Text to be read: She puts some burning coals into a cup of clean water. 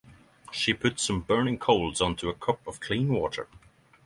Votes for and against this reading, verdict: 3, 3, rejected